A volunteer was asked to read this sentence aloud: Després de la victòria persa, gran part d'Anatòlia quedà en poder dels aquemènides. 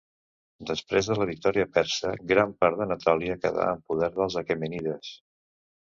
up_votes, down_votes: 0, 2